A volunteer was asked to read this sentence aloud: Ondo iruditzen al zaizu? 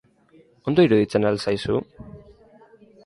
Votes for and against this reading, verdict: 2, 0, accepted